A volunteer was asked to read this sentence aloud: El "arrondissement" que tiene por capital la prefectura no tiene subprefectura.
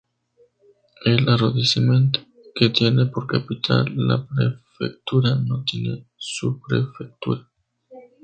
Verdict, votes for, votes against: accepted, 2, 0